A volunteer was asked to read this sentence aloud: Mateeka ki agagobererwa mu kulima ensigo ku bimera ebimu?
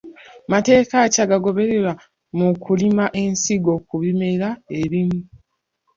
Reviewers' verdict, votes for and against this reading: rejected, 0, 2